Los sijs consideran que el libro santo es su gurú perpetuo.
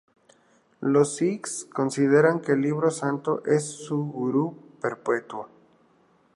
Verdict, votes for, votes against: rejected, 4, 4